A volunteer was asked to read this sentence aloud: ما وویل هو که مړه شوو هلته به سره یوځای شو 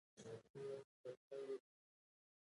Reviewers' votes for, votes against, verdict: 2, 0, accepted